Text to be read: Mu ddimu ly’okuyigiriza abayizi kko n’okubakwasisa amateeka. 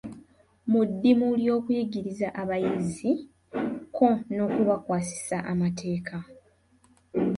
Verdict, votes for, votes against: accepted, 2, 0